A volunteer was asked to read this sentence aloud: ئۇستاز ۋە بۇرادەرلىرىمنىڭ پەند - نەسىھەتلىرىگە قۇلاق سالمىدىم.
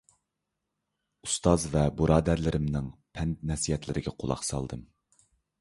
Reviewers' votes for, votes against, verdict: 0, 2, rejected